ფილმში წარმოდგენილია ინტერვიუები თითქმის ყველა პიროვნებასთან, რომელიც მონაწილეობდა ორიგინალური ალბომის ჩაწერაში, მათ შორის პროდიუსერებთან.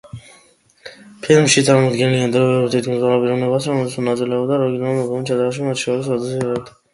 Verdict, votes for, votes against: rejected, 0, 2